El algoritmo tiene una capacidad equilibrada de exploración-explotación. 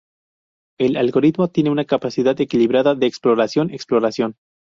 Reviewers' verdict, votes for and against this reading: rejected, 0, 2